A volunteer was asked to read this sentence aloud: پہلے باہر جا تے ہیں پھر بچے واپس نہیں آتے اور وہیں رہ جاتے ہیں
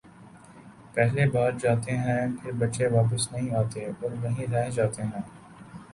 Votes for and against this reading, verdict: 4, 0, accepted